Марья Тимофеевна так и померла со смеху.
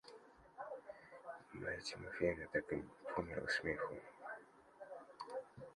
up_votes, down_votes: 0, 2